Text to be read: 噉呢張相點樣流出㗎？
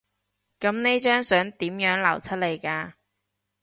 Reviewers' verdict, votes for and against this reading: rejected, 0, 2